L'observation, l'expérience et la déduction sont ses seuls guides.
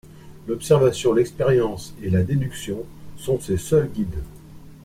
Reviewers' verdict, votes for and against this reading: accepted, 2, 0